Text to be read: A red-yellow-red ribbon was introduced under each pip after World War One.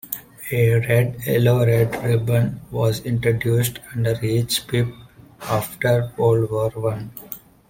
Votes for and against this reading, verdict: 1, 2, rejected